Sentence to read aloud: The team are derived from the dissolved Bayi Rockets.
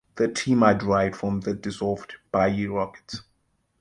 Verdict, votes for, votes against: accepted, 2, 0